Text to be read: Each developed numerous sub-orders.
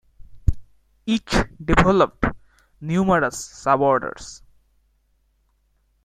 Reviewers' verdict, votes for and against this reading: accepted, 2, 0